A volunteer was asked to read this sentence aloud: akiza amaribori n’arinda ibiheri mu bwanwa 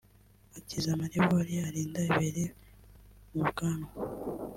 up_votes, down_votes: 1, 2